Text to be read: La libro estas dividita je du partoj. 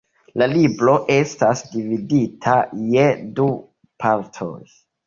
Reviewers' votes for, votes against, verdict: 1, 2, rejected